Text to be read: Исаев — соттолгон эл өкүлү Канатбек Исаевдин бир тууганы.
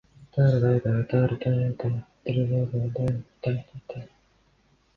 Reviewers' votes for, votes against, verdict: 0, 2, rejected